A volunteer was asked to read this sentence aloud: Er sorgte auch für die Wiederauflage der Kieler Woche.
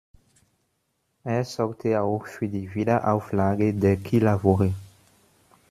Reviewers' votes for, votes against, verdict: 1, 2, rejected